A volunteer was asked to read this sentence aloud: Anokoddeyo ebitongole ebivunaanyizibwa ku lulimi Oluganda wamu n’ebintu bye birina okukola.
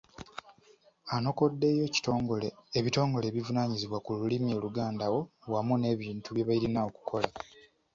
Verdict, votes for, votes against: accepted, 2, 0